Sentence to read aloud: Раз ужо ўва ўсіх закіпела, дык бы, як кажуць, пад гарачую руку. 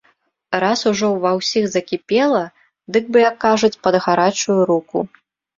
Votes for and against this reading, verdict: 2, 0, accepted